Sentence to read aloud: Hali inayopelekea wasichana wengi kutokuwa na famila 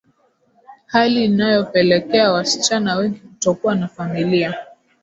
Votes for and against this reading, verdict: 2, 0, accepted